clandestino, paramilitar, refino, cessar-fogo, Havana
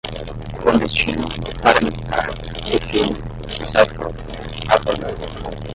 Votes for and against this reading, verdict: 0, 5, rejected